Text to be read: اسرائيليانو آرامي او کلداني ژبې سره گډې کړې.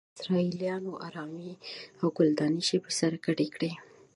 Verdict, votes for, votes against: rejected, 0, 2